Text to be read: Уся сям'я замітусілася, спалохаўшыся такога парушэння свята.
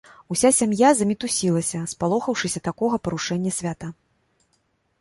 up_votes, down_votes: 2, 0